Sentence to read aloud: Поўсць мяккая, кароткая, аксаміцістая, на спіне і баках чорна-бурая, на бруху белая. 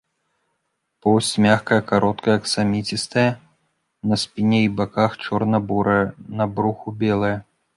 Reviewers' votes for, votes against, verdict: 0, 2, rejected